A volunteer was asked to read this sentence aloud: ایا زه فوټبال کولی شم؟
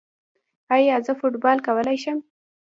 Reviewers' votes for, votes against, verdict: 0, 2, rejected